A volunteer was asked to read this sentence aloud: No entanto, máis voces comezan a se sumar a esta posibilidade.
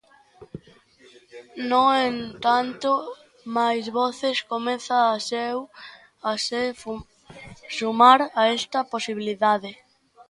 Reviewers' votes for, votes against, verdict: 0, 2, rejected